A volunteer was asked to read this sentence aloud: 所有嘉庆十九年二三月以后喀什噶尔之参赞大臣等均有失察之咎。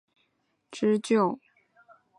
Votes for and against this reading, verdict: 1, 4, rejected